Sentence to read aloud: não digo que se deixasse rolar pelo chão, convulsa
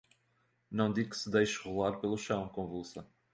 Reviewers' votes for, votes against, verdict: 2, 1, accepted